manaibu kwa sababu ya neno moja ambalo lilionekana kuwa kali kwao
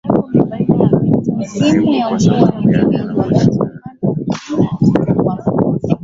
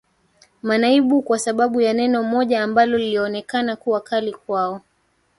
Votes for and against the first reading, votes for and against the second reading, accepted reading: 0, 2, 3, 2, second